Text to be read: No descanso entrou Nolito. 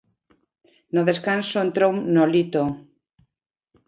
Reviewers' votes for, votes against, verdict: 2, 0, accepted